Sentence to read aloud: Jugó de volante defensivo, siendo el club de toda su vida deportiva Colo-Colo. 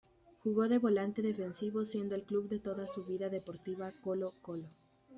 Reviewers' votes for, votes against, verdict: 2, 0, accepted